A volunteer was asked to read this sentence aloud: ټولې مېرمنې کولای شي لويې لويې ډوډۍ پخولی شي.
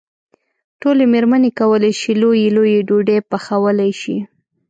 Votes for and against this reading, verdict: 3, 0, accepted